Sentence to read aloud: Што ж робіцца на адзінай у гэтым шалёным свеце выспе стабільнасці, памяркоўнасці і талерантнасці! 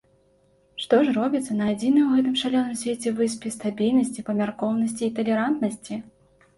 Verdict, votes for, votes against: accepted, 2, 0